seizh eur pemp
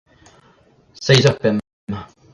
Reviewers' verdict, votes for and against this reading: rejected, 1, 2